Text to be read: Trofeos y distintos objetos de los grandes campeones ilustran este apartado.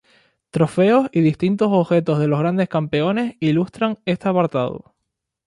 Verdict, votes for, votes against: accepted, 2, 0